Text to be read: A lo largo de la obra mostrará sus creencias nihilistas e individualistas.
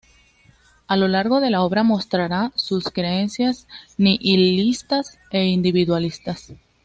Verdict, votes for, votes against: accepted, 2, 0